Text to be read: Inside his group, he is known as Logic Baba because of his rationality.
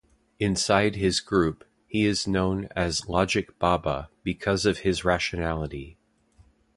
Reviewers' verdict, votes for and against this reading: accepted, 2, 0